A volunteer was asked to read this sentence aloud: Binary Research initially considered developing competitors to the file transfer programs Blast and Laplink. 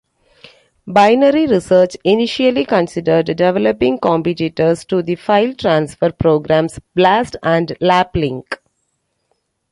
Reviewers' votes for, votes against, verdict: 3, 0, accepted